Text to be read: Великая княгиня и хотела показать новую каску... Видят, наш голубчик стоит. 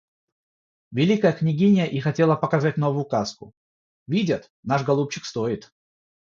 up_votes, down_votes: 0, 3